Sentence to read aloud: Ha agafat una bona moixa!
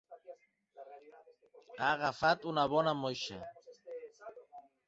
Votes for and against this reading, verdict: 0, 2, rejected